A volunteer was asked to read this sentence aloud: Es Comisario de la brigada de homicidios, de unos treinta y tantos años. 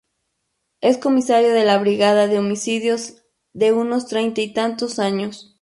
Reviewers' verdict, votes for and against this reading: rejected, 0, 2